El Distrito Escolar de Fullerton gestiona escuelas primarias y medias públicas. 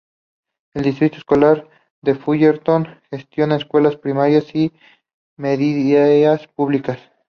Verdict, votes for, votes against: accepted, 2, 0